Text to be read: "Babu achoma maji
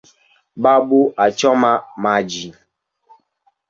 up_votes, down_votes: 2, 1